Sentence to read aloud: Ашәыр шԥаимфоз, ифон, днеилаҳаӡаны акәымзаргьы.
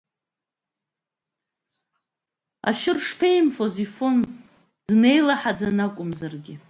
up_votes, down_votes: 2, 0